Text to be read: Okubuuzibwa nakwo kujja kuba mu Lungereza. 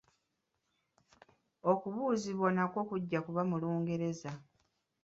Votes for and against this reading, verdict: 1, 2, rejected